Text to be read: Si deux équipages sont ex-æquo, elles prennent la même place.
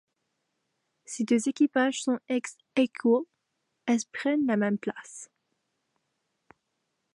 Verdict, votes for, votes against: accepted, 2, 1